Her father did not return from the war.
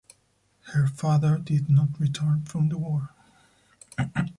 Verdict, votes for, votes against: rejected, 0, 4